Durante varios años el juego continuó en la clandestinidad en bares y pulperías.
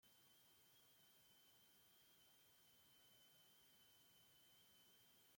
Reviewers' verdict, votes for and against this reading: rejected, 0, 2